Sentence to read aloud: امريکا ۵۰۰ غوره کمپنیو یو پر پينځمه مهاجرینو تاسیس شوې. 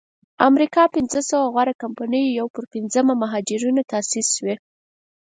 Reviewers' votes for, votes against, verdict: 0, 2, rejected